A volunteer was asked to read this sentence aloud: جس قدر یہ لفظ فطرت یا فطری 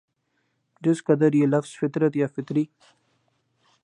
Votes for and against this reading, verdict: 16, 0, accepted